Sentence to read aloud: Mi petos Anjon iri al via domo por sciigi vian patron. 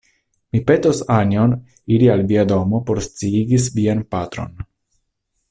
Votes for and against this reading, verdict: 1, 2, rejected